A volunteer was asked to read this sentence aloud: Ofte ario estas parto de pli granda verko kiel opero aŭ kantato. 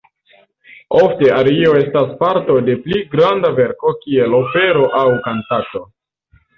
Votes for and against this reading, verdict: 0, 2, rejected